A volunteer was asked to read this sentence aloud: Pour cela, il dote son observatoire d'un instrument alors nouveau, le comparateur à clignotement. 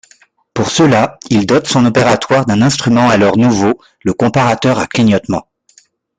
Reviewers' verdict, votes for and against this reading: rejected, 0, 2